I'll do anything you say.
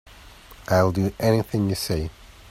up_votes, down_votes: 3, 0